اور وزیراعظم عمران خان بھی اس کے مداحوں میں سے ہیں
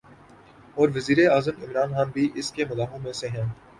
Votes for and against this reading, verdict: 3, 0, accepted